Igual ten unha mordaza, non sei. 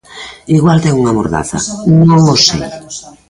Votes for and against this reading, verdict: 0, 2, rejected